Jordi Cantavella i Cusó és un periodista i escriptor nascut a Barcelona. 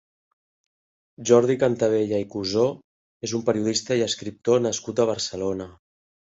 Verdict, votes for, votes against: accepted, 2, 0